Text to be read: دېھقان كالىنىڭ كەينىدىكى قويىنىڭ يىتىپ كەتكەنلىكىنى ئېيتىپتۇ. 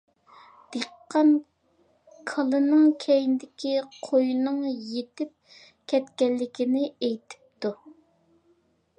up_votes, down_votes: 2, 0